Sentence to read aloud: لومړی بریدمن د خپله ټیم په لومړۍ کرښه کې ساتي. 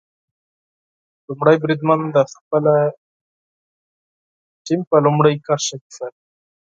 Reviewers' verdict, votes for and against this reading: rejected, 2, 6